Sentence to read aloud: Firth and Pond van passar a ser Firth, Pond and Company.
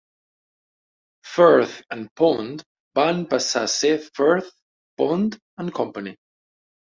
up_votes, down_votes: 4, 0